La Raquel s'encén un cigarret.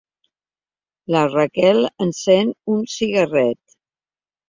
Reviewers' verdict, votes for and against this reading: rejected, 0, 2